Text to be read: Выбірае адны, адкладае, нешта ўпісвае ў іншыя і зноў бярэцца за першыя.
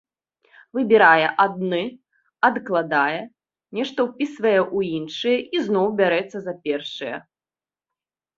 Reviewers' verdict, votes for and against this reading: accepted, 2, 0